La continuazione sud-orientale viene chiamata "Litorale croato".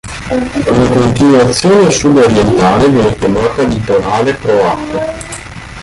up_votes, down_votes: 0, 2